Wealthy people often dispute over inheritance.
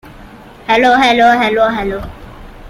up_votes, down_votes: 0, 2